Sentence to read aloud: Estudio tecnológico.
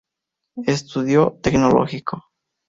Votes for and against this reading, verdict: 2, 0, accepted